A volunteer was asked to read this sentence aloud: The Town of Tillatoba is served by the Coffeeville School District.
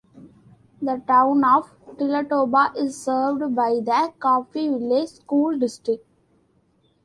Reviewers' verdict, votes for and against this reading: accepted, 2, 1